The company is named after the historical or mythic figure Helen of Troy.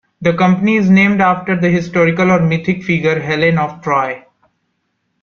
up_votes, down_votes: 3, 0